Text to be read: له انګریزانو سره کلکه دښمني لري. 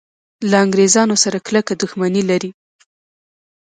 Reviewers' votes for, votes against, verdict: 2, 0, accepted